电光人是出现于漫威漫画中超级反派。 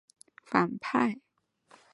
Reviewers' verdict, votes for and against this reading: rejected, 1, 2